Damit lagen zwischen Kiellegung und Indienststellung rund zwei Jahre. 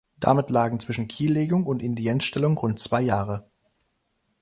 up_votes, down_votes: 1, 2